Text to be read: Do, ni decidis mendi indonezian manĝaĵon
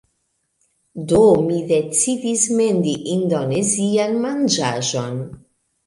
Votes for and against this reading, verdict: 2, 1, accepted